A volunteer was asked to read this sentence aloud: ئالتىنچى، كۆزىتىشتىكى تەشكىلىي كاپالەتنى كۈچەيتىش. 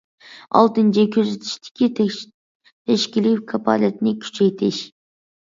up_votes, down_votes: 0, 2